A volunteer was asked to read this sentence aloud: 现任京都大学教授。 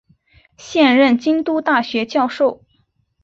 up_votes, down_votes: 2, 1